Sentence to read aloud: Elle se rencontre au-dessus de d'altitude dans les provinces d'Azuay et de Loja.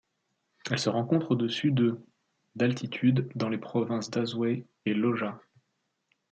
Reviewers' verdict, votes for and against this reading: rejected, 1, 2